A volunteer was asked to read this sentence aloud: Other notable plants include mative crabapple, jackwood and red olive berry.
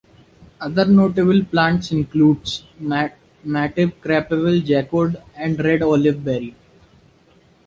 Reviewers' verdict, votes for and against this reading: accepted, 2, 0